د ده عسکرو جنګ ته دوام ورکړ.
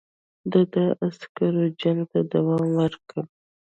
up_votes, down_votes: 1, 2